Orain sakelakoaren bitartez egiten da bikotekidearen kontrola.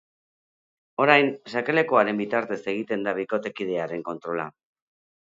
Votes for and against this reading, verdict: 2, 0, accepted